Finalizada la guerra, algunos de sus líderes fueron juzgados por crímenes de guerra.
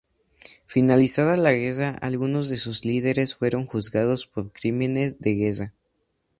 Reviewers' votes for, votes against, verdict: 2, 0, accepted